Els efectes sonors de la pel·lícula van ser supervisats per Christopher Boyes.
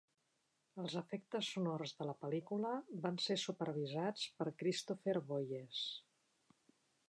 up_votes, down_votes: 1, 2